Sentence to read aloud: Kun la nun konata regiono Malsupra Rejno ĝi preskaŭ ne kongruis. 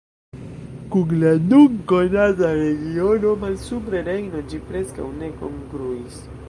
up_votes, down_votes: 0, 2